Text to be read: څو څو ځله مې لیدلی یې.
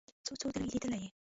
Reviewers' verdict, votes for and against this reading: rejected, 0, 2